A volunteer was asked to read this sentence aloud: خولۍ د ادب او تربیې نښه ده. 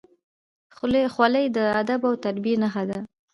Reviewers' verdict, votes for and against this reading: accepted, 2, 0